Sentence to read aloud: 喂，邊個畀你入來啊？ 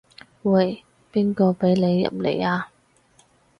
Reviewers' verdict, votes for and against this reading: rejected, 2, 4